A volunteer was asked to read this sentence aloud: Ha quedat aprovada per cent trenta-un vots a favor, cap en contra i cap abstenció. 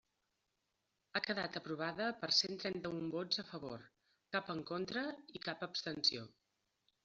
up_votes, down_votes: 3, 0